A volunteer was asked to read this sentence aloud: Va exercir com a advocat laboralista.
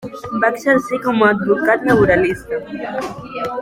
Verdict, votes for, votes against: rejected, 1, 2